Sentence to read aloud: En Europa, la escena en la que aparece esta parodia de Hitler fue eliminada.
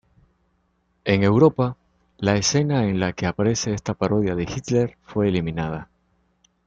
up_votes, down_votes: 2, 0